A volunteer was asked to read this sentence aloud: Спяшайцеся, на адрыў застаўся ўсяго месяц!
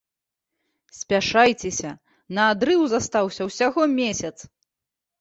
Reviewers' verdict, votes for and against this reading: accepted, 2, 0